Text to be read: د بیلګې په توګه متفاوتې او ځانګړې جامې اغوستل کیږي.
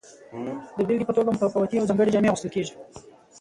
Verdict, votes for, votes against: accepted, 2, 0